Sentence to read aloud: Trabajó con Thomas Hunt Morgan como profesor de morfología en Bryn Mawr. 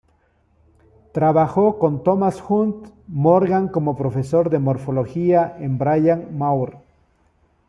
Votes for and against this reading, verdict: 1, 2, rejected